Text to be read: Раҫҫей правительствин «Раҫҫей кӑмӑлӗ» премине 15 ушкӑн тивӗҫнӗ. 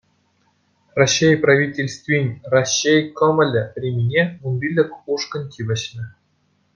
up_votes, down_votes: 0, 2